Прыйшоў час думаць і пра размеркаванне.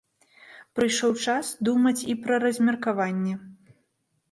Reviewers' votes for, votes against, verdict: 2, 1, accepted